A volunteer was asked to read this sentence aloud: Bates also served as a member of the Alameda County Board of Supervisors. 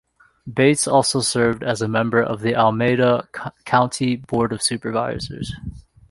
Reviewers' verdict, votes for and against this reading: rejected, 0, 2